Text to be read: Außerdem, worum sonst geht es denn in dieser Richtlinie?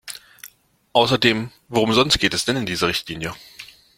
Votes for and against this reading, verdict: 2, 0, accepted